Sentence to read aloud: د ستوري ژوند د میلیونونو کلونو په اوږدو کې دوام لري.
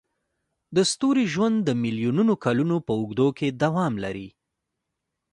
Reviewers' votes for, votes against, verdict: 2, 1, accepted